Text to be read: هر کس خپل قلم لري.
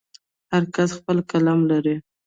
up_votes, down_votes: 2, 0